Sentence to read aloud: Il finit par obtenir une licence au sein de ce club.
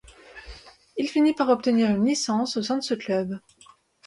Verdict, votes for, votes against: accepted, 2, 0